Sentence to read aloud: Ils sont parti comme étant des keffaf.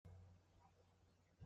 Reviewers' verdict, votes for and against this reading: rejected, 0, 2